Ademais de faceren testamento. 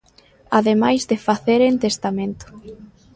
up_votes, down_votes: 0, 2